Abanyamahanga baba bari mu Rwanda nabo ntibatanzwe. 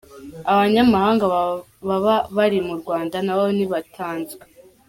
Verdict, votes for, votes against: rejected, 0, 2